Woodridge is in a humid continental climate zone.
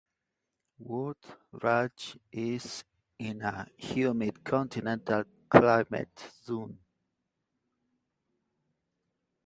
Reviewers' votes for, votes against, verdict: 1, 2, rejected